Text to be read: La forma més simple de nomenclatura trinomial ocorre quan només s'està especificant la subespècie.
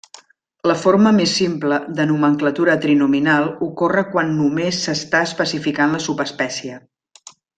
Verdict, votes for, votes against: rejected, 1, 2